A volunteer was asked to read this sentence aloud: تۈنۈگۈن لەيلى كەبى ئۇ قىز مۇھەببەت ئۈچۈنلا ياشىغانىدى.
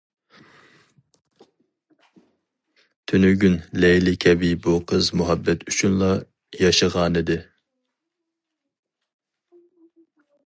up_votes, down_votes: 2, 2